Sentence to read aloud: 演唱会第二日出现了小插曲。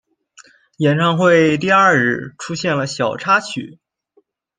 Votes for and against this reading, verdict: 2, 0, accepted